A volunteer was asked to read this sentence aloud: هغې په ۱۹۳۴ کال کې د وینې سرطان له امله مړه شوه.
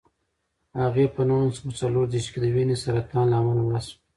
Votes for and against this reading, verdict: 0, 2, rejected